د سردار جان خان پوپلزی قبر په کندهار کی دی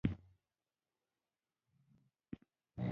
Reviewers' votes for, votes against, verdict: 0, 2, rejected